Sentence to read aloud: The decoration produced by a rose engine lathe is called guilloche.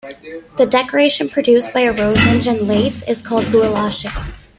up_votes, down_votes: 0, 2